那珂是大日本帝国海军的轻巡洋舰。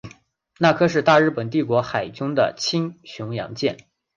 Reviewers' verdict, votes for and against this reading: accepted, 2, 0